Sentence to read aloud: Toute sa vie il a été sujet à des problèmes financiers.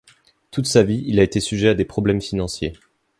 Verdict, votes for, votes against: accepted, 2, 0